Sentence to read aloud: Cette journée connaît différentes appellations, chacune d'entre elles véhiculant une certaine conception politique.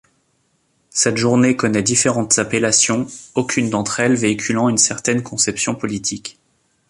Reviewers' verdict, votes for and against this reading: rejected, 0, 2